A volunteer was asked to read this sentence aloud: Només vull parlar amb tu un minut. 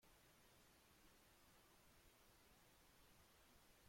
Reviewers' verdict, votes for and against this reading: rejected, 1, 2